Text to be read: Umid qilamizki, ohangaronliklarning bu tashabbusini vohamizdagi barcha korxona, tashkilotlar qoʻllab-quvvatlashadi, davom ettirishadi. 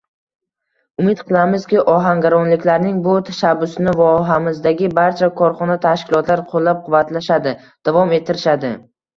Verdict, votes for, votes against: accepted, 2, 0